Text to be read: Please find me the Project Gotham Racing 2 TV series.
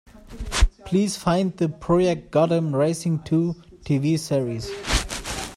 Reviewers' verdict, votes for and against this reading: rejected, 0, 2